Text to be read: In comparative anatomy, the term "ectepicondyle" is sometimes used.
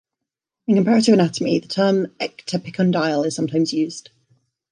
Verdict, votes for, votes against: accepted, 2, 1